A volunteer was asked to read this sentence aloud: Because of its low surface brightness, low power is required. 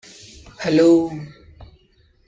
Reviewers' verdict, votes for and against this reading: rejected, 0, 2